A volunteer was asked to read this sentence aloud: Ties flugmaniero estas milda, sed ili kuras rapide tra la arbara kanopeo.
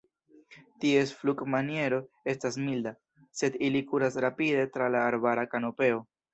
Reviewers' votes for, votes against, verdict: 2, 0, accepted